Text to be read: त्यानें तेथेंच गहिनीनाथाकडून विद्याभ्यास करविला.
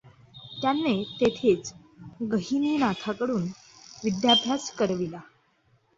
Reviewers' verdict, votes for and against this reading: accepted, 2, 0